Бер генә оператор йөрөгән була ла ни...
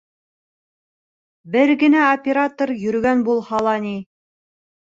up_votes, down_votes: 0, 2